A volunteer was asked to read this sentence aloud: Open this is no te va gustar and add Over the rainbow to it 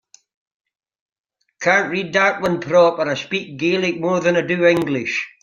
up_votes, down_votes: 0, 2